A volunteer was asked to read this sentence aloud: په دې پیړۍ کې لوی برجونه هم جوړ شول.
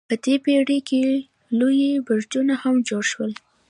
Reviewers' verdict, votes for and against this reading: accepted, 2, 0